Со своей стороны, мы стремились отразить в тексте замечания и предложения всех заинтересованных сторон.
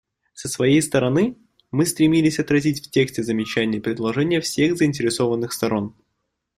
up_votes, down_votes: 2, 0